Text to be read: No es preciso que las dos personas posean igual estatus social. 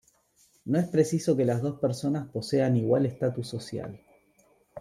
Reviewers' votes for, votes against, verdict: 2, 1, accepted